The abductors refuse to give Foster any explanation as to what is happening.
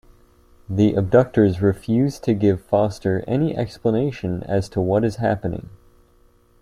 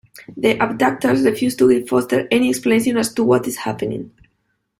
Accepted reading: first